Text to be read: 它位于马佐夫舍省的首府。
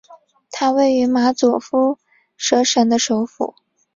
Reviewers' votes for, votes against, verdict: 3, 0, accepted